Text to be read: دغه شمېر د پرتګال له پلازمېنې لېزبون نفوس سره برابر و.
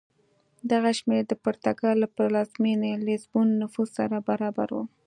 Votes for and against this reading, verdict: 2, 0, accepted